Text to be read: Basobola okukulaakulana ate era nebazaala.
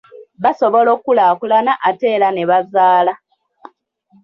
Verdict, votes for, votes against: rejected, 0, 2